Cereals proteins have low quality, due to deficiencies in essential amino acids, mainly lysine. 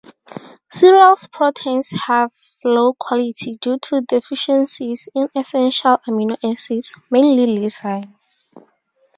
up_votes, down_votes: 0, 2